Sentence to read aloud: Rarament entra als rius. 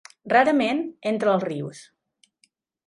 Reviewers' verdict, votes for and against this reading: accepted, 2, 0